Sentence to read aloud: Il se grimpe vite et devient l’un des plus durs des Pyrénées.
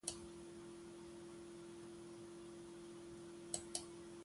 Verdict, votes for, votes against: rejected, 0, 2